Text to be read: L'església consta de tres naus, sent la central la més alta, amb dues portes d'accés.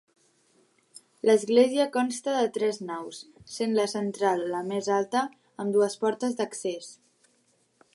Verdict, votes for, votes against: accepted, 2, 0